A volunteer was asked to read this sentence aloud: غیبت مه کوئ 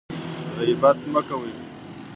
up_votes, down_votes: 2, 0